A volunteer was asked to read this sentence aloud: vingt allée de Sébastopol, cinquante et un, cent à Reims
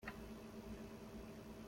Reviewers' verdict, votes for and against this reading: rejected, 0, 2